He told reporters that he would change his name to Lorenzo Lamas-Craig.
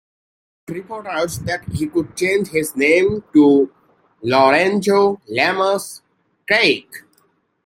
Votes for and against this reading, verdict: 1, 2, rejected